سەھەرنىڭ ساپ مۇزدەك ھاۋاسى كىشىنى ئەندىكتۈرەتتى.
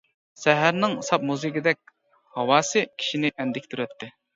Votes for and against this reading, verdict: 0, 2, rejected